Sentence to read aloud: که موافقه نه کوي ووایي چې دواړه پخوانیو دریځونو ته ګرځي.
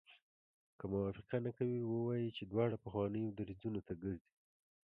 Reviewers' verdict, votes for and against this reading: rejected, 1, 2